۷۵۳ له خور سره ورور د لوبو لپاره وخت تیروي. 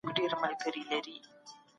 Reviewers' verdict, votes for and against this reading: rejected, 0, 2